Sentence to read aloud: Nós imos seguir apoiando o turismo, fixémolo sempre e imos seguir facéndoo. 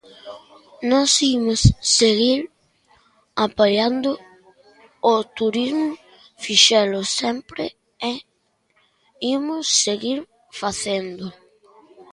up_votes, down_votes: 0, 2